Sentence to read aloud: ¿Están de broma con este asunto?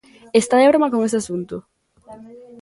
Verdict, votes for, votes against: rejected, 0, 2